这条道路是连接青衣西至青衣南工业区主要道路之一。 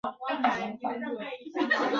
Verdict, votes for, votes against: rejected, 1, 3